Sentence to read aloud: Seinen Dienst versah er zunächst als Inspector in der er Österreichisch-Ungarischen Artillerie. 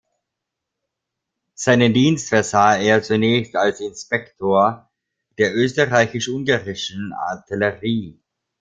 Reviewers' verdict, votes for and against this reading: rejected, 0, 2